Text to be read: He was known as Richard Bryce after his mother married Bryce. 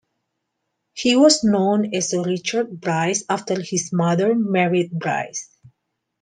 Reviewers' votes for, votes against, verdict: 2, 0, accepted